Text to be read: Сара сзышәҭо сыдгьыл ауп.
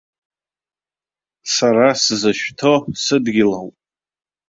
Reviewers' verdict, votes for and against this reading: accepted, 2, 0